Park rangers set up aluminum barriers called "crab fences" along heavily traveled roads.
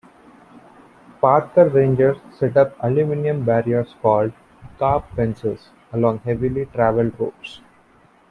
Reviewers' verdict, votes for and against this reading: rejected, 0, 2